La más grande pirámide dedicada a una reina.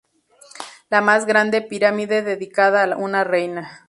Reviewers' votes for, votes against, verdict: 0, 2, rejected